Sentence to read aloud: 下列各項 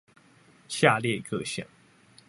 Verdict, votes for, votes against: rejected, 1, 2